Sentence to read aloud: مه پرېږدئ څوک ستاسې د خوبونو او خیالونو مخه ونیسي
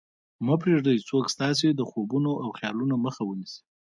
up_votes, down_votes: 0, 2